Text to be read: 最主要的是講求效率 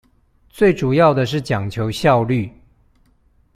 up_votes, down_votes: 2, 0